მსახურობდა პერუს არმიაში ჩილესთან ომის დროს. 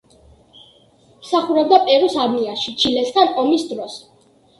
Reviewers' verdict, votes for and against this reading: accepted, 2, 0